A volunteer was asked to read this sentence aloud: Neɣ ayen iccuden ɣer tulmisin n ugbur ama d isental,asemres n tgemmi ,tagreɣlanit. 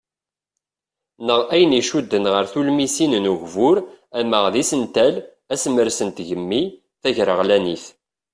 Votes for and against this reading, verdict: 2, 0, accepted